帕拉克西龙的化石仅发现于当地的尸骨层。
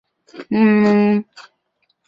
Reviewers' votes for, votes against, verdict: 1, 3, rejected